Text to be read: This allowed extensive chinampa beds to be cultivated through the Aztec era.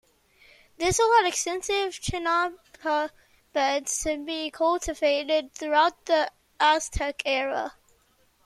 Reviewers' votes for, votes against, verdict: 0, 2, rejected